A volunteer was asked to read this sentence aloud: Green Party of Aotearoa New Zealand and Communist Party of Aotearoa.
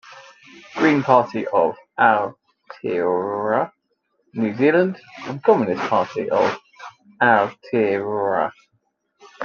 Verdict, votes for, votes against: rejected, 1, 2